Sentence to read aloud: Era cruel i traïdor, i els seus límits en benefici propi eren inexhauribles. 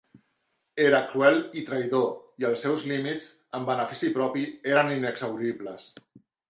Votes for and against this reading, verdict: 2, 0, accepted